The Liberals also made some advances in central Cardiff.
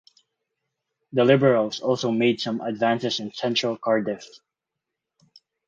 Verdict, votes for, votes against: accepted, 4, 0